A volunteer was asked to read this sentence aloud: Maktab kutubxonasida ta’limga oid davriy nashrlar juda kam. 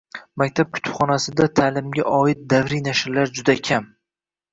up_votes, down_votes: 2, 0